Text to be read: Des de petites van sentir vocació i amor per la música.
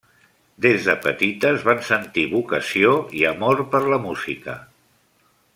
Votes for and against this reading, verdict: 3, 0, accepted